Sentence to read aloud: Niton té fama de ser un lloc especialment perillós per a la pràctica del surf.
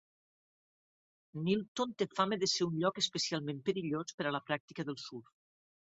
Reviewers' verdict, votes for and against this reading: accepted, 2, 0